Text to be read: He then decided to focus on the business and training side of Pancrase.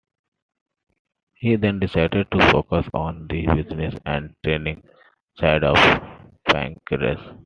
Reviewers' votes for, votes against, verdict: 2, 1, accepted